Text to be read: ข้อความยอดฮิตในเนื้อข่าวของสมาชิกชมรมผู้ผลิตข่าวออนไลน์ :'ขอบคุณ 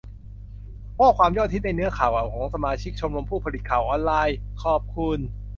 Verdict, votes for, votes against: rejected, 0, 2